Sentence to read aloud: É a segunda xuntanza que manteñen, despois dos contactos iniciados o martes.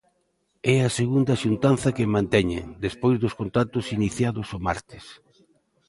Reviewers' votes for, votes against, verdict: 2, 1, accepted